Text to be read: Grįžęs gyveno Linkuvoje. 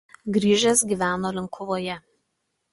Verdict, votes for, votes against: accepted, 2, 0